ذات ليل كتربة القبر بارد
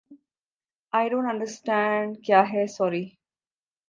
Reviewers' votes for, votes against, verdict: 1, 2, rejected